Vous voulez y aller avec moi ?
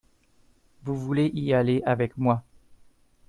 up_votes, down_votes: 1, 2